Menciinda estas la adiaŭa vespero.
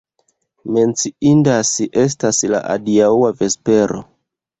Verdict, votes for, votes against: rejected, 1, 2